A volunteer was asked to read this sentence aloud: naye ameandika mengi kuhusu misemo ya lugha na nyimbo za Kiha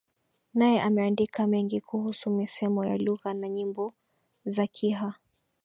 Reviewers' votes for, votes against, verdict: 2, 1, accepted